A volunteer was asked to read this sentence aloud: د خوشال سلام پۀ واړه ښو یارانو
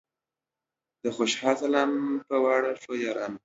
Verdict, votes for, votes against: accepted, 2, 0